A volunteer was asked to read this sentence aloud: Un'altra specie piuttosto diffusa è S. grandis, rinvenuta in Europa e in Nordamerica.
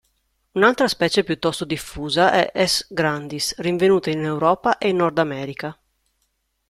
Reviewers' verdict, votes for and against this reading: accepted, 2, 0